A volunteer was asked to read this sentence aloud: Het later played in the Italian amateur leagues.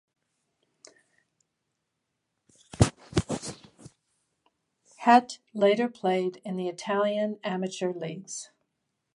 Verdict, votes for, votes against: accepted, 2, 0